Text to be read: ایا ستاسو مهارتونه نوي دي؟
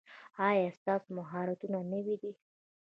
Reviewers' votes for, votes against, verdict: 2, 0, accepted